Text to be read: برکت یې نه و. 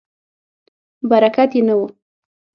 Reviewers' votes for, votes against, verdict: 3, 6, rejected